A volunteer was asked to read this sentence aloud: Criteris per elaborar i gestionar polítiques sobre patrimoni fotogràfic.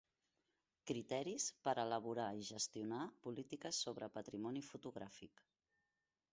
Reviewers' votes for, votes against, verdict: 1, 2, rejected